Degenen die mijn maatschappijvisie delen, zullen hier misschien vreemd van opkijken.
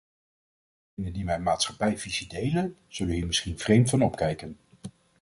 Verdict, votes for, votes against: rejected, 1, 2